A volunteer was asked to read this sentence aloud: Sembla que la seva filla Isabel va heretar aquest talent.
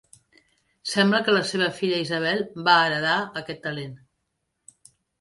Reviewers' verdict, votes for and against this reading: rejected, 1, 3